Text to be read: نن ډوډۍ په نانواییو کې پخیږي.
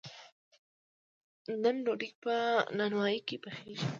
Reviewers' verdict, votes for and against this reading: rejected, 0, 2